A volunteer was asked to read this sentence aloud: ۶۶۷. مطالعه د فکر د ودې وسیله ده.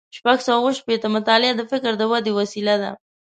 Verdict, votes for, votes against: rejected, 0, 2